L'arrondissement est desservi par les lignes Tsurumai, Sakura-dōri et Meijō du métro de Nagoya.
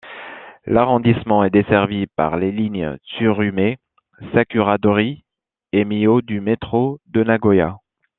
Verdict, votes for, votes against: accepted, 2, 1